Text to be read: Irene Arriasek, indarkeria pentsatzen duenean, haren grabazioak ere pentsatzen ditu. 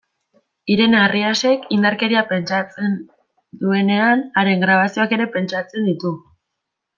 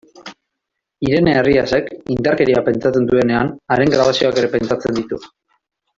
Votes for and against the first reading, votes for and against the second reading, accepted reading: 0, 2, 2, 0, second